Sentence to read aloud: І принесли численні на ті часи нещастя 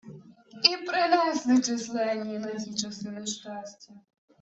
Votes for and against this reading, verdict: 2, 1, accepted